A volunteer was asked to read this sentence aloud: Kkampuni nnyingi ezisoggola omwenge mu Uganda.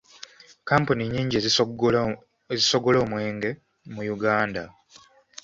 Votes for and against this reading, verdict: 0, 2, rejected